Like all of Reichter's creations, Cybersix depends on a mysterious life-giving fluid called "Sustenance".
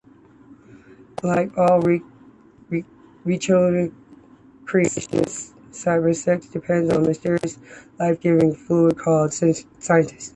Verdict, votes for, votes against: rejected, 1, 3